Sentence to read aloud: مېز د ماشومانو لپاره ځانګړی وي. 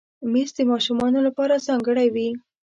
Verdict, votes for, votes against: accepted, 2, 0